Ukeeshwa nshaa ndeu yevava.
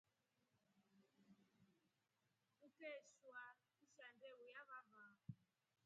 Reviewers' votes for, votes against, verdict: 0, 2, rejected